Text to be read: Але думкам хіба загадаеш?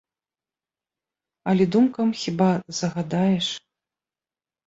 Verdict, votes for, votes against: accepted, 2, 0